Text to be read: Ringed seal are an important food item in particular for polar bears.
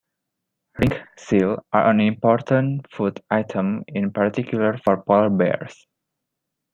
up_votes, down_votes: 2, 1